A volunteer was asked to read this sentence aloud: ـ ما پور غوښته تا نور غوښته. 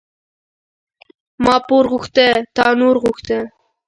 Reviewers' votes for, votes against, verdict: 2, 0, accepted